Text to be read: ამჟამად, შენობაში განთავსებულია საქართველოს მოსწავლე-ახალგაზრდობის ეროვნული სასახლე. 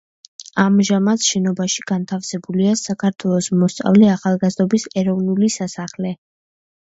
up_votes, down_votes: 2, 0